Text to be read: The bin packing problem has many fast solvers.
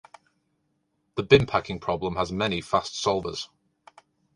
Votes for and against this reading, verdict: 1, 2, rejected